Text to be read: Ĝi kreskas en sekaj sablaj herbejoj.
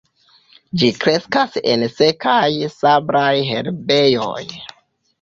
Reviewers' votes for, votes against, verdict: 2, 0, accepted